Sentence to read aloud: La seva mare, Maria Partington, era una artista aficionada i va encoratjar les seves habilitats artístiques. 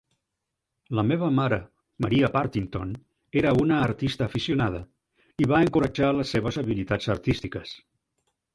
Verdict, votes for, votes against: rejected, 1, 2